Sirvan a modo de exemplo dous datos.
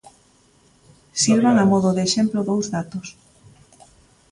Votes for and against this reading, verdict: 2, 0, accepted